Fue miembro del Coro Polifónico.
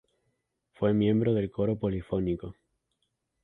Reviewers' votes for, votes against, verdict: 0, 2, rejected